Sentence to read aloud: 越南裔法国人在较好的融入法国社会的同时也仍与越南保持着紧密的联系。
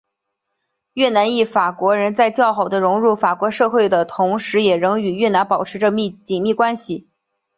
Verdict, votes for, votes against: rejected, 0, 2